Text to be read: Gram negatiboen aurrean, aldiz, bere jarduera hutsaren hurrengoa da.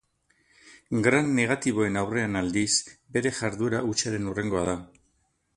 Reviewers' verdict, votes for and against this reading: accepted, 4, 0